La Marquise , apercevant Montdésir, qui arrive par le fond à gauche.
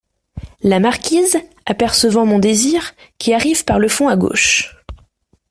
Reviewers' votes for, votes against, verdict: 2, 0, accepted